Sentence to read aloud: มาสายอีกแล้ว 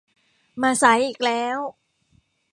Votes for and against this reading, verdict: 2, 0, accepted